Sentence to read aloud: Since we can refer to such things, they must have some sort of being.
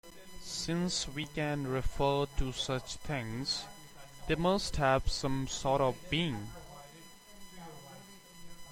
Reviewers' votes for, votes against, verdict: 2, 1, accepted